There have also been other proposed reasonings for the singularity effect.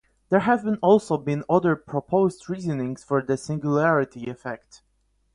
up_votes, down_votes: 0, 4